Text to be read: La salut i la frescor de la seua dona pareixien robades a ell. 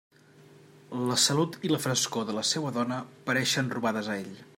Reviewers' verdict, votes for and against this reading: rejected, 1, 2